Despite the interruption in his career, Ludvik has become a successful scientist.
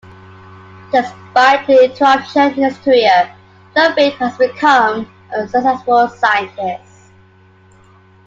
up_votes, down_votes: 2, 0